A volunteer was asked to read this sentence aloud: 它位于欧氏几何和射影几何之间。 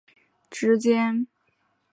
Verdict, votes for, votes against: rejected, 0, 2